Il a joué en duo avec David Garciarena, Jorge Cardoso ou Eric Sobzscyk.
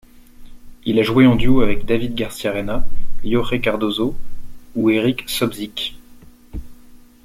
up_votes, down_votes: 2, 1